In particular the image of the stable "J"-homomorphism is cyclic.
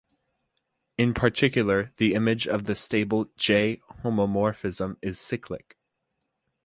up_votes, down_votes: 2, 0